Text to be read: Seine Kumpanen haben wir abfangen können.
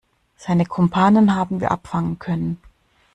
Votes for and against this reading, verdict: 2, 0, accepted